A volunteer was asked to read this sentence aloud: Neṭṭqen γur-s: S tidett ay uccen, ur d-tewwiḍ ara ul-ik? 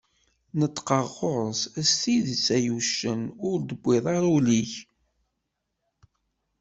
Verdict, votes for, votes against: rejected, 1, 2